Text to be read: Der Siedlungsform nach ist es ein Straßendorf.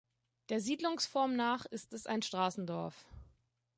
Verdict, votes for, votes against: accepted, 3, 0